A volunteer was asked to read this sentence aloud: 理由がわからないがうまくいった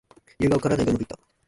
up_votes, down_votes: 0, 2